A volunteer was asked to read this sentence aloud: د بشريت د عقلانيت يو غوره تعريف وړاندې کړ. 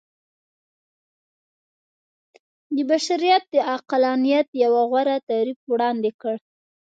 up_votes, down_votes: 2, 1